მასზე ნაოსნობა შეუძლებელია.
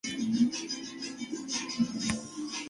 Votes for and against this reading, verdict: 0, 2, rejected